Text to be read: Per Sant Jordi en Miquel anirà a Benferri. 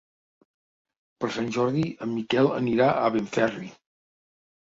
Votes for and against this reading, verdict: 3, 1, accepted